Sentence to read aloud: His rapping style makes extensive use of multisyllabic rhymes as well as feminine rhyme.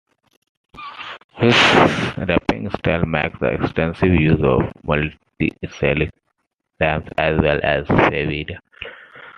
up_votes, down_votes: 0, 2